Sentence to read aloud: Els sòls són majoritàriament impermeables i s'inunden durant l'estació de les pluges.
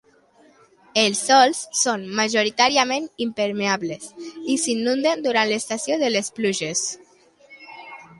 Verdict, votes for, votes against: accepted, 2, 0